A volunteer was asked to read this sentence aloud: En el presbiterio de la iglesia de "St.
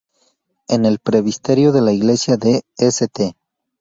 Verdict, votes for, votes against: rejected, 0, 4